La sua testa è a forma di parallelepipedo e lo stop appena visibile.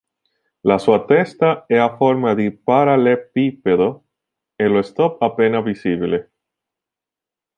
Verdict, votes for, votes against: rejected, 0, 2